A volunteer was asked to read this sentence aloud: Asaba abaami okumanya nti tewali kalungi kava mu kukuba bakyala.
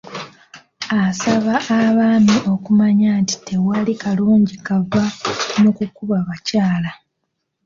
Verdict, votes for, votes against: accepted, 2, 0